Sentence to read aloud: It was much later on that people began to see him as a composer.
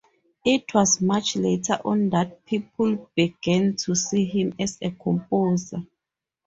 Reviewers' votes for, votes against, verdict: 4, 0, accepted